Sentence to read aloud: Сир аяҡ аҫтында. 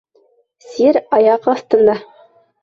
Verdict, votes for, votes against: rejected, 1, 2